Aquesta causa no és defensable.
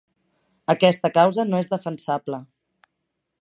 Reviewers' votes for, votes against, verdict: 2, 0, accepted